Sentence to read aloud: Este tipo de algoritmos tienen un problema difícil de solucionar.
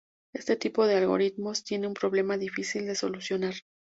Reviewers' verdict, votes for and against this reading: rejected, 0, 2